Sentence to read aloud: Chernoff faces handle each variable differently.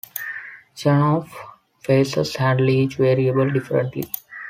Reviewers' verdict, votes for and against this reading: accepted, 2, 1